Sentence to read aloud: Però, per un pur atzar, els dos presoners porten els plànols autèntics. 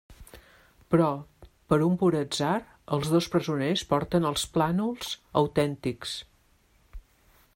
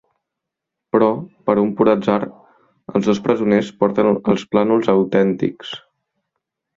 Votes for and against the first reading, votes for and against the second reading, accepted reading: 2, 0, 1, 2, first